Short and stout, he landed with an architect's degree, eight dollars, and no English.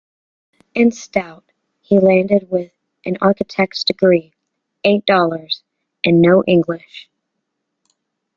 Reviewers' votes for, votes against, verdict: 0, 2, rejected